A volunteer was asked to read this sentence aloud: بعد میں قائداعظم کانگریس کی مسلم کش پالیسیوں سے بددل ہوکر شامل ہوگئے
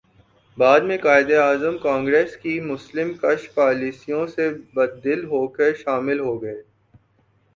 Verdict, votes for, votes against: accepted, 8, 0